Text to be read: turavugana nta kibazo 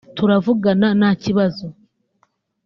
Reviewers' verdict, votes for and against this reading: accepted, 2, 1